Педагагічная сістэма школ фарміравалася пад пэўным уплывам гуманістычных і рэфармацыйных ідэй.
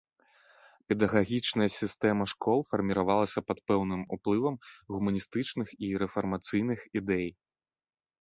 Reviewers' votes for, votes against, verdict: 5, 0, accepted